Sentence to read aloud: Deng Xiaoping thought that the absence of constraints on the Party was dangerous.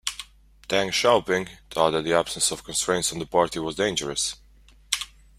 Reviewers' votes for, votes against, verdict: 2, 1, accepted